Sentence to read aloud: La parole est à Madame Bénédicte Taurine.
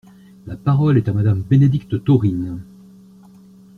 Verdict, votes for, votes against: accepted, 2, 0